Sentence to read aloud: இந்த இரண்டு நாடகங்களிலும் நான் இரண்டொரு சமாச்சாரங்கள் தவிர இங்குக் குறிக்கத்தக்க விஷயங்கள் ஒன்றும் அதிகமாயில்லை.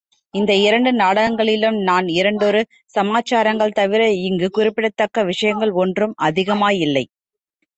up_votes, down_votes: 2, 1